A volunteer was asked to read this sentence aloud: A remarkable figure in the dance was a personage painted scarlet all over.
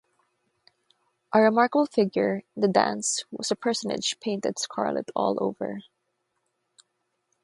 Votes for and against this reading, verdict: 3, 0, accepted